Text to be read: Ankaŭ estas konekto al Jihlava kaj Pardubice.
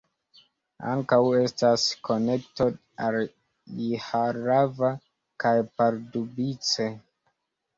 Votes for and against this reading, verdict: 2, 0, accepted